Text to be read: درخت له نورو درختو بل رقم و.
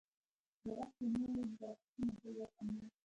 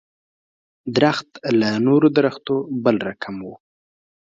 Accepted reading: second